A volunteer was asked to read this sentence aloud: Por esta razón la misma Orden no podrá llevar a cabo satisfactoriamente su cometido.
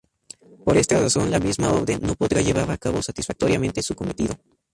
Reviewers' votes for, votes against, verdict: 0, 2, rejected